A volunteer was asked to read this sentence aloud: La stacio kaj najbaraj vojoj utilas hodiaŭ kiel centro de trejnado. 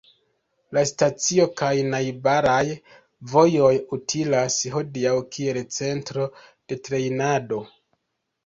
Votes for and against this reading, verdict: 2, 0, accepted